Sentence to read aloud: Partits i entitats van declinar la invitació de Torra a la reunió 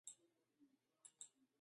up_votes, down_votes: 0, 2